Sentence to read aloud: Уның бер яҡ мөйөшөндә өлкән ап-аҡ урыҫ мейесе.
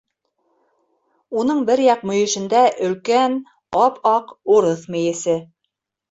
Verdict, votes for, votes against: accepted, 2, 1